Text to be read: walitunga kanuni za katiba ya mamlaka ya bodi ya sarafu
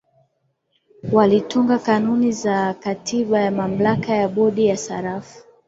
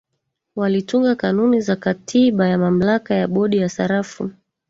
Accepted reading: first